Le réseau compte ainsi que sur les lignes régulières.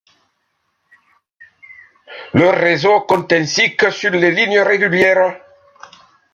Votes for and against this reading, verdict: 2, 0, accepted